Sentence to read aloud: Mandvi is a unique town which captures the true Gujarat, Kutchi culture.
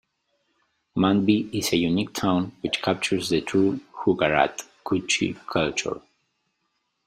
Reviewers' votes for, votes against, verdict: 1, 2, rejected